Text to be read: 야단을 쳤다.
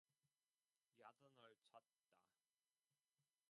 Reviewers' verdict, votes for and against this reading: rejected, 0, 2